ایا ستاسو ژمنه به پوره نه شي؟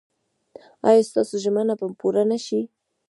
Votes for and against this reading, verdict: 0, 2, rejected